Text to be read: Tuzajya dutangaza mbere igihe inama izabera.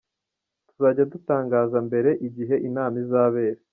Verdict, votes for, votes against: rejected, 1, 2